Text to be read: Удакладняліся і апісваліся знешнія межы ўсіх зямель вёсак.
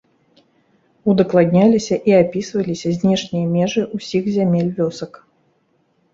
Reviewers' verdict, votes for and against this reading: accepted, 2, 0